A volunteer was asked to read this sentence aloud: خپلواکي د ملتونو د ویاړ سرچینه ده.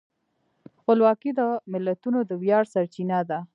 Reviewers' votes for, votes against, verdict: 2, 0, accepted